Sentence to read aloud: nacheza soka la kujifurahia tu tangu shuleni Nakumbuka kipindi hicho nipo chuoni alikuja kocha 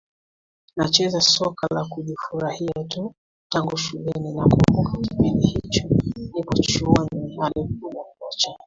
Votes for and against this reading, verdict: 2, 1, accepted